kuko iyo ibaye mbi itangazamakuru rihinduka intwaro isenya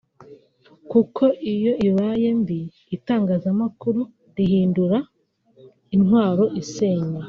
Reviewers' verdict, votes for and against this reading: rejected, 1, 2